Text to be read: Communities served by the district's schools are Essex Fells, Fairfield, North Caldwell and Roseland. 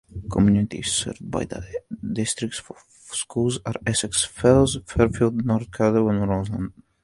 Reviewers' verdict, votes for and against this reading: rejected, 1, 2